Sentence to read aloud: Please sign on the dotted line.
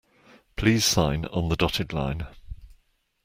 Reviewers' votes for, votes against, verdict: 2, 0, accepted